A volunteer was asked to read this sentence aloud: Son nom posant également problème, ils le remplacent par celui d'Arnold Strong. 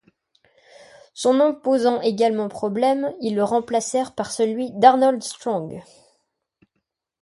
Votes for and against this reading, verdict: 0, 2, rejected